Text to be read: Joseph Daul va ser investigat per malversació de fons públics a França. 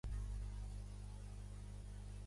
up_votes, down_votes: 0, 2